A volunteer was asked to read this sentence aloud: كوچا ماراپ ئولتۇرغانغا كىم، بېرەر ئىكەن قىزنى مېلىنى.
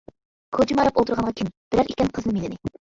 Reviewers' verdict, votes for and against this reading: rejected, 0, 2